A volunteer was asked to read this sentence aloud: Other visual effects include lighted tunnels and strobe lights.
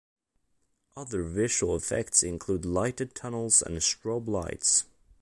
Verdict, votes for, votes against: accepted, 2, 0